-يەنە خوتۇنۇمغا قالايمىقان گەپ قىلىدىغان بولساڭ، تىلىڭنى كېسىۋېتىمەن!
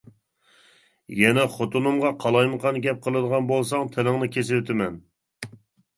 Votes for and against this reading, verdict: 2, 0, accepted